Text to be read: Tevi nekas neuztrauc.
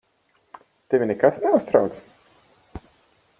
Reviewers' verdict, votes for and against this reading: accepted, 4, 2